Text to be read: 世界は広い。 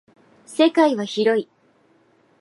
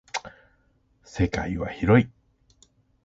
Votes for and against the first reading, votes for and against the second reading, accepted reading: 2, 0, 0, 2, first